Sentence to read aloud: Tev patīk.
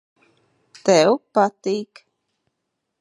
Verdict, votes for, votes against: accepted, 2, 0